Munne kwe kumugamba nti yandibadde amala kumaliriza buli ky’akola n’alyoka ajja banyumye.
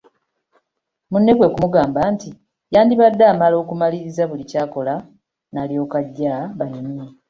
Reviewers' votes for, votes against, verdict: 2, 1, accepted